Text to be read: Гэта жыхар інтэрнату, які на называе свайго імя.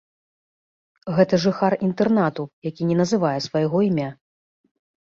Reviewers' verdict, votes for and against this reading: accepted, 2, 0